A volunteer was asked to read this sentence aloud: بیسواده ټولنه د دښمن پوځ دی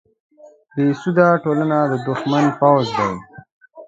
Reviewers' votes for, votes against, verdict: 2, 1, accepted